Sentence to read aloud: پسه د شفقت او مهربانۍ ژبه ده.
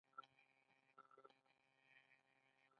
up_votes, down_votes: 2, 0